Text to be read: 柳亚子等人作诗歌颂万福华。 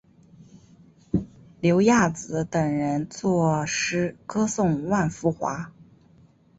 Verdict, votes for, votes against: accepted, 2, 0